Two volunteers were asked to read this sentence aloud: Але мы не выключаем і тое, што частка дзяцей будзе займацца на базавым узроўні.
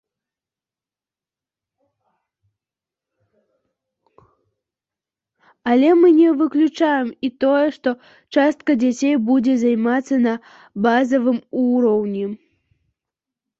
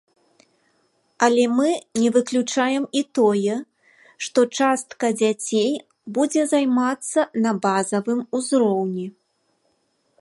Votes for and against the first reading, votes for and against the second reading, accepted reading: 0, 2, 2, 0, second